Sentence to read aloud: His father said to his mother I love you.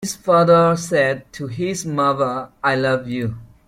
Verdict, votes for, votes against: accepted, 2, 0